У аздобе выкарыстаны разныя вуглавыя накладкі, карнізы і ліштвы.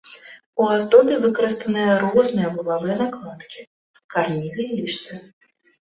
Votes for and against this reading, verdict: 2, 0, accepted